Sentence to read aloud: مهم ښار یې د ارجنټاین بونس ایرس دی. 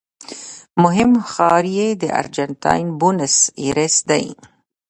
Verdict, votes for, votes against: rejected, 0, 2